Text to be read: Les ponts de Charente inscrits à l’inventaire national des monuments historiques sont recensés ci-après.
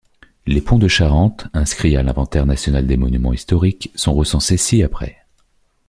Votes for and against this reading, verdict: 2, 0, accepted